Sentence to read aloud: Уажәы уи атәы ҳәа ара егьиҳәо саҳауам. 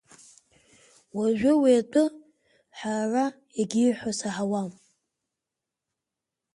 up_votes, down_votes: 4, 1